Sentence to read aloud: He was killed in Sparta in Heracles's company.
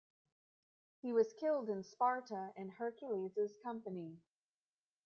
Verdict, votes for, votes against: rejected, 1, 2